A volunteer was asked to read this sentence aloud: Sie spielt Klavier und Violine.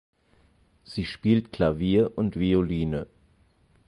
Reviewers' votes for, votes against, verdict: 4, 0, accepted